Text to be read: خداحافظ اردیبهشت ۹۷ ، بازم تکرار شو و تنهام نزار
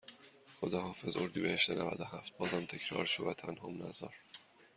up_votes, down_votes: 0, 2